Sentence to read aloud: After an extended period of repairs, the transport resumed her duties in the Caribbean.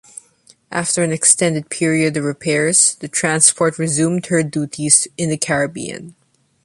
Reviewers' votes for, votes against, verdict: 2, 0, accepted